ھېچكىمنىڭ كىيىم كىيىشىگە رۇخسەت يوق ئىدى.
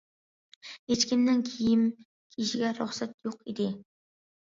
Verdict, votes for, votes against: accepted, 2, 0